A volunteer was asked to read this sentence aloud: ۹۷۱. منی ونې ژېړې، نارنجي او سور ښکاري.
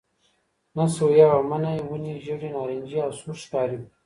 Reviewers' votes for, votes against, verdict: 0, 2, rejected